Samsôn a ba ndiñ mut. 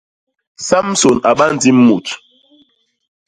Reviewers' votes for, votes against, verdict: 1, 2, rejected